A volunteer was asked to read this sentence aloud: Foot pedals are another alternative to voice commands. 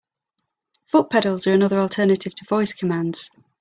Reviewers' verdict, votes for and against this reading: accepted, 2, 0